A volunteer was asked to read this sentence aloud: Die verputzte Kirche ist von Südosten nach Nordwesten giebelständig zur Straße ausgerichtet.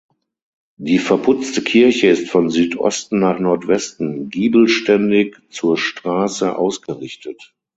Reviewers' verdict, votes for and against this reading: accepted, 6, 0